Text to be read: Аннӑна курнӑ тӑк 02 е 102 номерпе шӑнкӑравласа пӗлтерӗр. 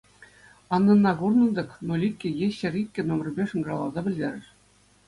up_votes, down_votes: 0, 2